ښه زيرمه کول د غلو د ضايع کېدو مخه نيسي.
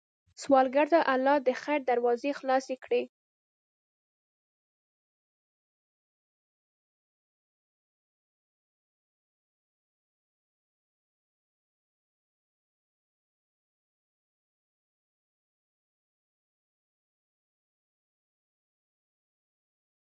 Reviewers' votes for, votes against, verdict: 0, 2, rejected